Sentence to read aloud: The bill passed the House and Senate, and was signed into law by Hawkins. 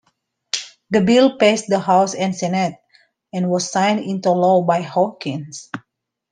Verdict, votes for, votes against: accepted, 2, 0